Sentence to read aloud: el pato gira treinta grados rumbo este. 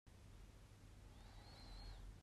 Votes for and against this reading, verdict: 0, 2, rejected